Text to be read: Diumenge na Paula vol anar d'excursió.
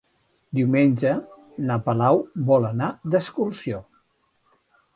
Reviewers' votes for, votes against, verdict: 0, 2, rejected